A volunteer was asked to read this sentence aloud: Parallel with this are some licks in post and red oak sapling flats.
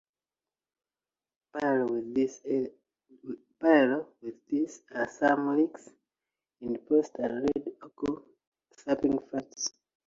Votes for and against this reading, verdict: 2, 1, accepted